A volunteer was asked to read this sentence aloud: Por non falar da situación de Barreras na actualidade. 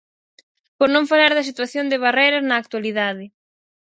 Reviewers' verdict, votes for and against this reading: accepted, 4, 0